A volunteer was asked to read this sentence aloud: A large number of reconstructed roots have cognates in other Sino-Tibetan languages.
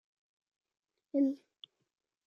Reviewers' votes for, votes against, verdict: 0, 3, rejected